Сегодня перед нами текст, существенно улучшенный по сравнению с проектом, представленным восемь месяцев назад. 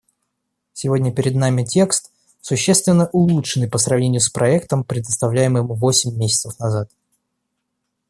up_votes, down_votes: 0, 2